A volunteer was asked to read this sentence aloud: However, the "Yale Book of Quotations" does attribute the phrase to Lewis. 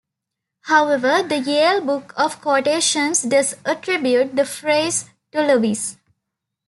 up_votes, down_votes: 2, 0